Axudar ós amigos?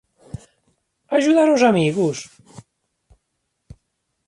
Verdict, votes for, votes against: accepted, 2, 0